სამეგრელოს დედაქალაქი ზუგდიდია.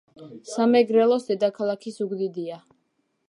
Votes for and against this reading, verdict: 2, 1, accepted